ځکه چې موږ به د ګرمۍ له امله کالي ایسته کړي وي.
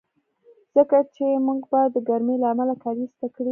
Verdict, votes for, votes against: rejected, 0, 2